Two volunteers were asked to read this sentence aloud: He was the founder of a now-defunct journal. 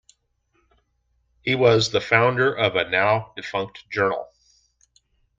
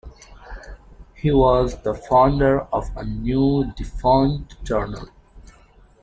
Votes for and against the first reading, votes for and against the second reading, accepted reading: 2, 0, 1, 2, first